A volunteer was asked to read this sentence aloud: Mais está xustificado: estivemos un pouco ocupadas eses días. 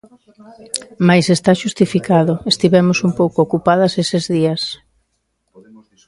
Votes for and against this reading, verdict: 1, 2, rejected